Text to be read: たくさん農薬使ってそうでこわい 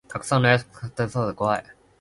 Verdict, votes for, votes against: rejected, 1, 2